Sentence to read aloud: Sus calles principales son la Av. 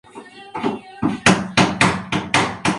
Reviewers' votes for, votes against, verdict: 0, 2, rejected